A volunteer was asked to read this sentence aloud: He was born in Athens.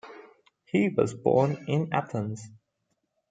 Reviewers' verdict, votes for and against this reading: accepted, 2, 0